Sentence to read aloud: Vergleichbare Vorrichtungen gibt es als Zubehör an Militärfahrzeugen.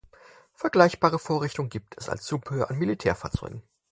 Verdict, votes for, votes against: accepted, 4, 0